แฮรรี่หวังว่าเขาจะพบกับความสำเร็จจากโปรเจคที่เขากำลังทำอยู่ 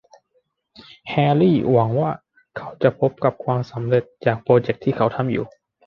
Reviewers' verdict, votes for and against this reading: rejected, 0, 2